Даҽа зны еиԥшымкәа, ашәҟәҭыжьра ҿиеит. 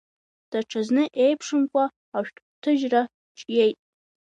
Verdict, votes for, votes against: rejected, 1, 2